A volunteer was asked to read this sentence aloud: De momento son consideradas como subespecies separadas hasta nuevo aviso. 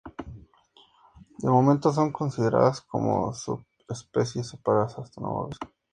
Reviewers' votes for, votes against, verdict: 2, 0, accepted